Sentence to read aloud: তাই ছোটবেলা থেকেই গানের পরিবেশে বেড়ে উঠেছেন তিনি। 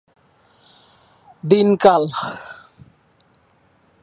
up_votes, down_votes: 0, 3